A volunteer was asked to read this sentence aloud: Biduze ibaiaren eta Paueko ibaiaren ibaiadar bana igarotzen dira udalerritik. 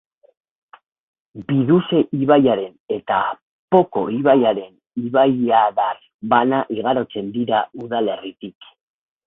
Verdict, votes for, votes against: rejected, 8, 8